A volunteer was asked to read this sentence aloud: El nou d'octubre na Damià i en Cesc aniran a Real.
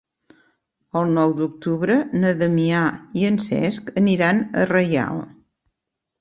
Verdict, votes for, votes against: rejected, 0, 2